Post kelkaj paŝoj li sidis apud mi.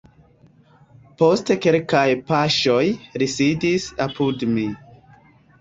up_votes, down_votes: 1, 2